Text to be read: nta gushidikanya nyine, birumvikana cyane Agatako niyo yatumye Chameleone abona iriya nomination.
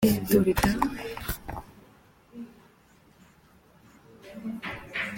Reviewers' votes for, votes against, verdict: 0, 3, rejected